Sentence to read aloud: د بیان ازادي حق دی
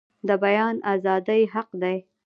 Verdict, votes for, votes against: accepted, 2, 1